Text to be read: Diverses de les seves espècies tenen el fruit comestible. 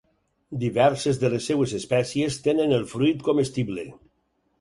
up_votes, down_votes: 0, 4